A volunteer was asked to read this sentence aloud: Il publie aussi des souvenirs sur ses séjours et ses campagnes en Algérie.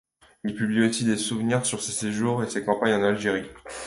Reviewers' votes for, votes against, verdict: 2, 0, accepted